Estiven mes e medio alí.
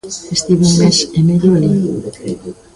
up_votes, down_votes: 1, 2